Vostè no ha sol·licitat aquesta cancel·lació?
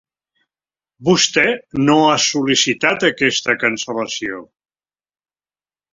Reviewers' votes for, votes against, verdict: 2, 1, accepted